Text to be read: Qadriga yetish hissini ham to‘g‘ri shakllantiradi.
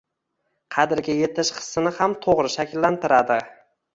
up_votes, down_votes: 2, 0